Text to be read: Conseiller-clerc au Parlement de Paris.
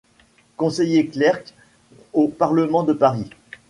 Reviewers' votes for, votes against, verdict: 0, 2, rejected